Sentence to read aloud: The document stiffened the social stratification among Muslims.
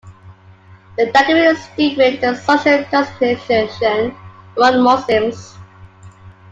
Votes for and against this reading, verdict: 1, 2, rejected